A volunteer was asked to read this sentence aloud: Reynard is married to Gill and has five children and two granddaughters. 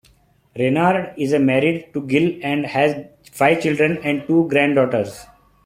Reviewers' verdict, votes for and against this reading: accepted, 2, 0